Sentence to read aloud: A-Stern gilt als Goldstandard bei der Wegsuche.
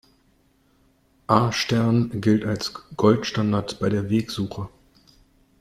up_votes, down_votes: 2, 0